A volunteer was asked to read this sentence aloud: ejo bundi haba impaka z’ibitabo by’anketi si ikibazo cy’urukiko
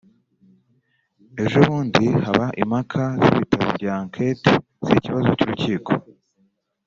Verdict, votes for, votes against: rejected, 1, 2